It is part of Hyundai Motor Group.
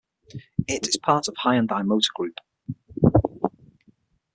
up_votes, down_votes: 6, 0